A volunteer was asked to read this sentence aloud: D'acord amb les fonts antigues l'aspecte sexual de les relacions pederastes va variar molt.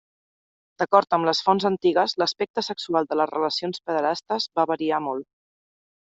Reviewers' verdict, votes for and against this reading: accepted, 3, 0